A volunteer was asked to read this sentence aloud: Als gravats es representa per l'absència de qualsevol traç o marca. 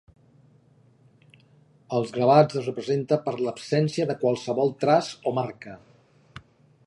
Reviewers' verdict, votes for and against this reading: accepted, 2, 0